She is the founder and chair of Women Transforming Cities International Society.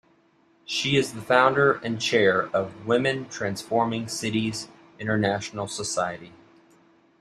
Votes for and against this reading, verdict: 2, 0, accepted